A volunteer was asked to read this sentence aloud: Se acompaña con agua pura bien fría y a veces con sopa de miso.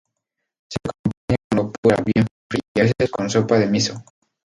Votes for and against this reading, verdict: 0, 2, rejected